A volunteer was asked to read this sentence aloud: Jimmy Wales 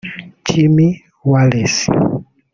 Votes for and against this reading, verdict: 1, 2, rejected